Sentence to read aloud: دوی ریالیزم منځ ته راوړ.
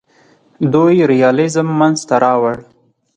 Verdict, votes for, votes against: accepted, 4, 0